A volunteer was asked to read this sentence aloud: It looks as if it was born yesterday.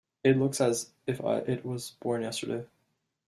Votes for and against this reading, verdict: 1, 2, rejected